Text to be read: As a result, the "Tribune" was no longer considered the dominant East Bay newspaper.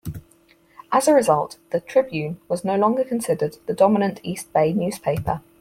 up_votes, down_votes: 4, 0